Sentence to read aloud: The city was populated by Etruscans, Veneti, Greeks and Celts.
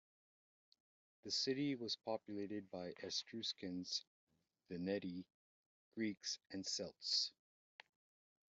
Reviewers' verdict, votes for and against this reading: rejected, 0, 2